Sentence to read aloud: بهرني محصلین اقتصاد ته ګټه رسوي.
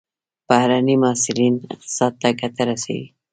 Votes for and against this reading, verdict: 0, 2, rejected